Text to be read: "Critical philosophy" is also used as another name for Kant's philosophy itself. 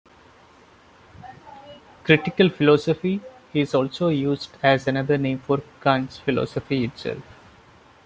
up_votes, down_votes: 2, 1